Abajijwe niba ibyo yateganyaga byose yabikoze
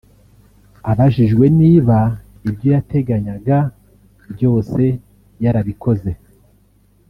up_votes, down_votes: 1, 2